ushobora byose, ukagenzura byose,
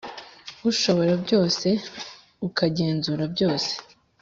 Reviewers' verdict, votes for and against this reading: accepted, 2, 0